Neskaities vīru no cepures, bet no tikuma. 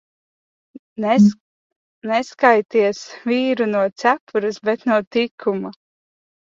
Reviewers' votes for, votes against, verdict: 0, 2, rejected